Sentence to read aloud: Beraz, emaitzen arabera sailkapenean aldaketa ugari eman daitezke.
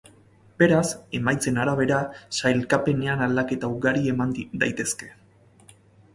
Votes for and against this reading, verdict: 0, 4, rejected